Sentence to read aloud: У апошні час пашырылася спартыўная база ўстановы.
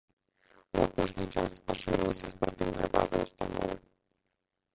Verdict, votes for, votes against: rejected, 0, 2